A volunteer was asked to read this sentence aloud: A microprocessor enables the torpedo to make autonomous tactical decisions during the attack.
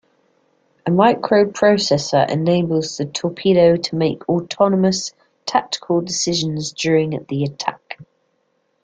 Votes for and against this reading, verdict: 2, 1, accepted